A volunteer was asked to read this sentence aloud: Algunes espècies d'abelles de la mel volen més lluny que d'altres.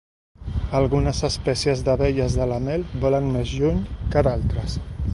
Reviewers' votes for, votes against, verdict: 2, 0, accepted